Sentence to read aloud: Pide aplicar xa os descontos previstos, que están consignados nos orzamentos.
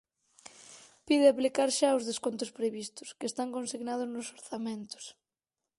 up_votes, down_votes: 4, 0